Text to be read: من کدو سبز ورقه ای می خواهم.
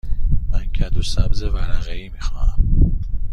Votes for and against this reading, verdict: 2, 0, accepted